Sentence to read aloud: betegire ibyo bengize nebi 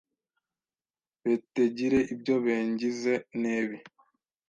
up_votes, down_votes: 1, 2